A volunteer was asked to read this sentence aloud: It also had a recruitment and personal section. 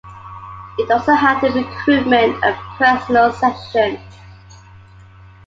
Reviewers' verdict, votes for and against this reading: accepted, 2, 1